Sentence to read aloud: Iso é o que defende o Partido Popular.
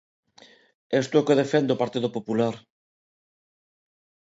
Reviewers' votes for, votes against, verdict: 0, 3, rejected